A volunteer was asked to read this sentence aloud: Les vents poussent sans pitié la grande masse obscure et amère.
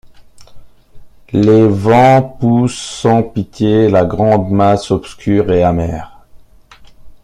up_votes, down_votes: 2, 1